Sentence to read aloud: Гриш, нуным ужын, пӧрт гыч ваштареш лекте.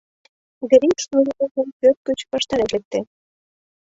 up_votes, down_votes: 0, 2